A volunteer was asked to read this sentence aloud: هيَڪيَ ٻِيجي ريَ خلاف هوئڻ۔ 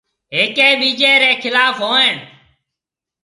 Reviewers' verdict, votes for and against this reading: accepted, 2, 0